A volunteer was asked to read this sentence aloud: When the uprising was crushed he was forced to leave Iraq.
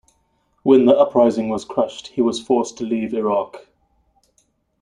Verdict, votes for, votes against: accepted, 2, 0